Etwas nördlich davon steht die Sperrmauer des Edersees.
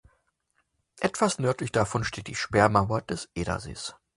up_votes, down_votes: 2, 0